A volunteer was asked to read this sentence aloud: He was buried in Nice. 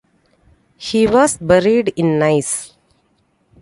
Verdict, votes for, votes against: accepted, 2, 0